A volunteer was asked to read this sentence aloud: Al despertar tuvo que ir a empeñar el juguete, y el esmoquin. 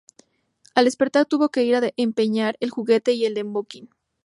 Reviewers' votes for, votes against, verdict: 0, 2, rejected